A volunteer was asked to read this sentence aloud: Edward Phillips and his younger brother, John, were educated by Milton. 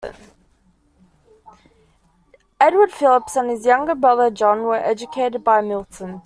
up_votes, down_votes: 2, 0